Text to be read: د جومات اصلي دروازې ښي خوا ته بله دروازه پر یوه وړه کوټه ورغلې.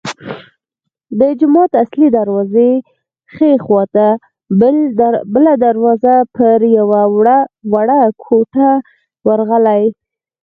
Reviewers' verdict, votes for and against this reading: accepted, 4, 2